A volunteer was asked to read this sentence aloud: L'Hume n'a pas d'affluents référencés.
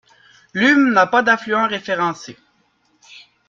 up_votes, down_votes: 2, 0